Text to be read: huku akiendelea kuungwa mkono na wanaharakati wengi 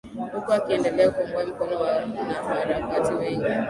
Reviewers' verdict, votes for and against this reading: rejected, 0, 3